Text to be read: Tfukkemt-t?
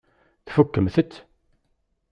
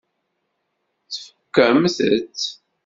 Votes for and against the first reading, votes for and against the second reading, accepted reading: 2, 0, 1, 2, first